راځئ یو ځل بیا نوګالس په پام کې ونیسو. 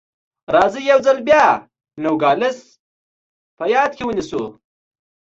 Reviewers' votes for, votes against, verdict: 2, 0, accepted